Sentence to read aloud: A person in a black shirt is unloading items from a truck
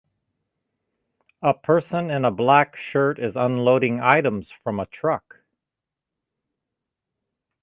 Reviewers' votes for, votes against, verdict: 2, 0, accepted